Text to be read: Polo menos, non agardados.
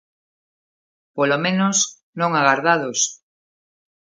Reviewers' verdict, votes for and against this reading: accepted, 2, 0